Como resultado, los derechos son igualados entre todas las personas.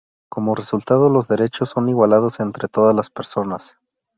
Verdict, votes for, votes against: rejected, 0, 2